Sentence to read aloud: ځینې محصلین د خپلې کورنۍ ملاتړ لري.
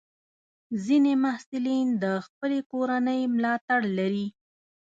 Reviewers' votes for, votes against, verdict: 2, 0, accepted